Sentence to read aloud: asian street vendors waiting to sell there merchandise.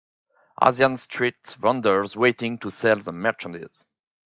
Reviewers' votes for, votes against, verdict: 4, 3, accepted